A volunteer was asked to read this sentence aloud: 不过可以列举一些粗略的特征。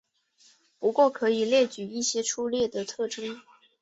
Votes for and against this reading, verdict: 2, 2, rejected